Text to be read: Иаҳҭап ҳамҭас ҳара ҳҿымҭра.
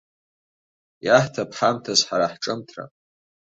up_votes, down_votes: 2, 0